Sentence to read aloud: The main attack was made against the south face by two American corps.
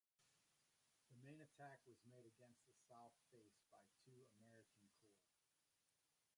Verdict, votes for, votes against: rejected, 0, 2